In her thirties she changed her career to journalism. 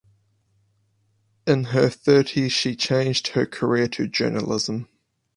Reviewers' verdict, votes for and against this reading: accepted, 4, 0